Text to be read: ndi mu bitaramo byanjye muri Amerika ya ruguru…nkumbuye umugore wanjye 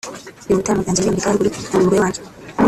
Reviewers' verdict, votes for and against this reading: rejected, 1, 2